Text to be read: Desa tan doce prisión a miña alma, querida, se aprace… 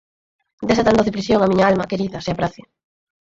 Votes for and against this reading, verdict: 4, 2, accepted